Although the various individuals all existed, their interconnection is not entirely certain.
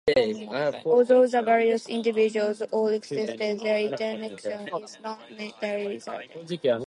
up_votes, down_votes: 0, 2